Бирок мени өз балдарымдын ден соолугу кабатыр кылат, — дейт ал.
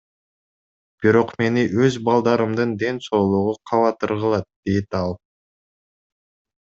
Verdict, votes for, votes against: accepted, 2, 0